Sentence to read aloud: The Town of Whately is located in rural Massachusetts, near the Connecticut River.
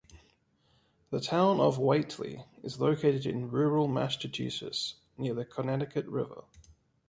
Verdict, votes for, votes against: accepted, 2, 0